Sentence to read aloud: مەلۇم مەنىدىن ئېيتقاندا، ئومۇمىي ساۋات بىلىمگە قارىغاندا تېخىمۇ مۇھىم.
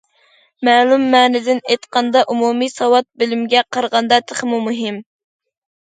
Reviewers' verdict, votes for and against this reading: accepted, 2, 0